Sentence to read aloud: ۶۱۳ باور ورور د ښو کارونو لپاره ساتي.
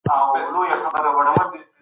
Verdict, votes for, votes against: rejected, 0, 2